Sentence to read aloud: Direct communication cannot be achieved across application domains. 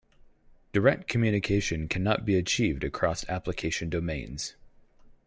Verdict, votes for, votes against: accepted, 4, 0